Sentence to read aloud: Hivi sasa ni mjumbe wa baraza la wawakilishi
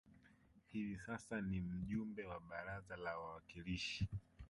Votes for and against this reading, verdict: 0, 2, rejected